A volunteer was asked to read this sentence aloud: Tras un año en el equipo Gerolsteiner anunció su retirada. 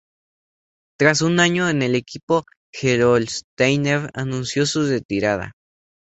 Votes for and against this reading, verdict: 2, 0, accepted